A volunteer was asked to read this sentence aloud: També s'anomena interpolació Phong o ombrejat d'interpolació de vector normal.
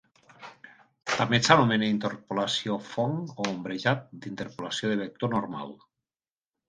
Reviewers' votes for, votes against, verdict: 2, 0, accepted